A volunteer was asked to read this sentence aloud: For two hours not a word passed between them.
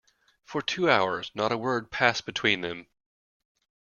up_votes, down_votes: 2, 0